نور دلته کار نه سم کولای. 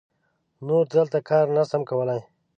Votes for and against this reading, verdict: 2, 0, accepted